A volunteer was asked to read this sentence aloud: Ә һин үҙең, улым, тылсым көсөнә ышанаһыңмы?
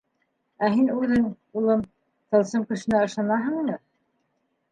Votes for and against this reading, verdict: 1, 2, rejected